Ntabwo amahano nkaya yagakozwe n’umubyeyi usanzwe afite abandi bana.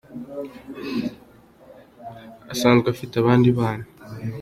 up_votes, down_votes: 0, 2